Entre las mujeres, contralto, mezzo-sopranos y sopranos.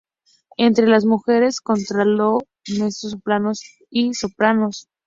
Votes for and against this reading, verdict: 0, 2, rejected